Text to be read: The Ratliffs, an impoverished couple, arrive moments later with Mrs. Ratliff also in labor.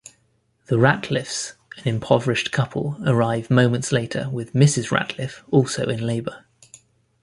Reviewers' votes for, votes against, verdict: 1, 2, rejected